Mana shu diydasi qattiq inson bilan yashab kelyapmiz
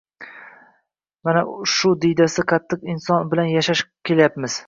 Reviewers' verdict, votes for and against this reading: rejected, 0, 2